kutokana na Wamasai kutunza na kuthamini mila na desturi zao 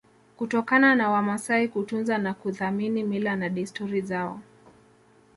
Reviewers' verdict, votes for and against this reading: accepted, 2, 1